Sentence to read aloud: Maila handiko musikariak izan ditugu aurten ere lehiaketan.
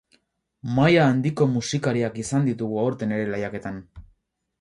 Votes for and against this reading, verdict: 4, 0, accepted